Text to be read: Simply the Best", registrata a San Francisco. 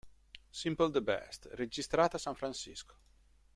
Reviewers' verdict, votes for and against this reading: rejected, 1, 2